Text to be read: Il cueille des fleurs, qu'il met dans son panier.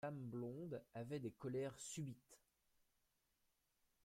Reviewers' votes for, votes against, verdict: 0, 2, rejected